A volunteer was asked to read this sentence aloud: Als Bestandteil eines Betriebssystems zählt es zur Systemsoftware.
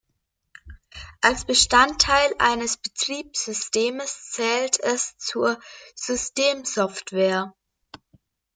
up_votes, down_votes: 1, 2